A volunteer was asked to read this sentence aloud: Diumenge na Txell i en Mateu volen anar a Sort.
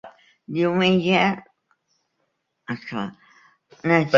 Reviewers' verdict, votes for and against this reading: rejected, 0, 3